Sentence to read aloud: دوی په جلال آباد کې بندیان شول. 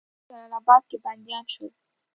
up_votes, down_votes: 1, 2